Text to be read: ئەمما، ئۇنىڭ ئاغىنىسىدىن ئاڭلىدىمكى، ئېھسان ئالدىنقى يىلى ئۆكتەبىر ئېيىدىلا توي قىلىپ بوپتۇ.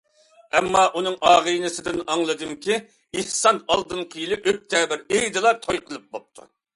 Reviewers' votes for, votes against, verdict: 2, 0, accepted